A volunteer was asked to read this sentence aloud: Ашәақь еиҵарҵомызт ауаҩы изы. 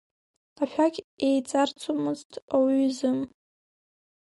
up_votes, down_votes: 2, 1